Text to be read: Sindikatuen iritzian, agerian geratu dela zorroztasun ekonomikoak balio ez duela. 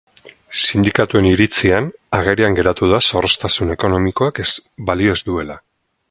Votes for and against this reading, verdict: 0, 4, rejected